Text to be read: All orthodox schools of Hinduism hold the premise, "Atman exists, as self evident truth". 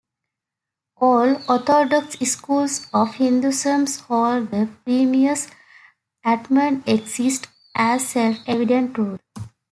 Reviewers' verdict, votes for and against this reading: rejected, 0, 2